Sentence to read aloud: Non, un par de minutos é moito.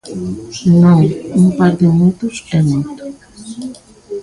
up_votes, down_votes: 0, 2